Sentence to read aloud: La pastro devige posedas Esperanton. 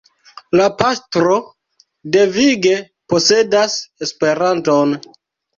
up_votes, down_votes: 0, 2